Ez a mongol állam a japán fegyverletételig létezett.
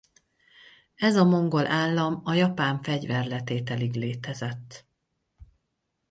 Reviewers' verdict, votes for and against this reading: accepted, 4, 0